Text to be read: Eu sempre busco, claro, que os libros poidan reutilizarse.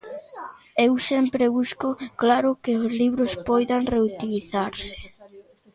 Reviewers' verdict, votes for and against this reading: rejected, 0, 2